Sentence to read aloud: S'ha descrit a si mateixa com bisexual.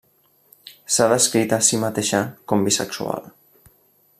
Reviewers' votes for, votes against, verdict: 2, 0, accepted